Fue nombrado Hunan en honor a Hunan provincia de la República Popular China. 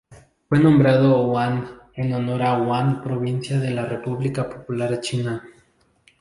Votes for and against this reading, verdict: 0, 2, rejected